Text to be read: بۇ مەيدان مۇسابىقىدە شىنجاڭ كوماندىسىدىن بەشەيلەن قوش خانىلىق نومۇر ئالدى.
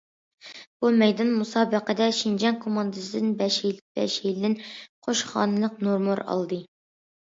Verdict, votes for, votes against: rejected, 0, 2